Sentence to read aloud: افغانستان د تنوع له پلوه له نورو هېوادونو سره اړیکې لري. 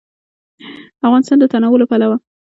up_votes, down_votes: 1, 2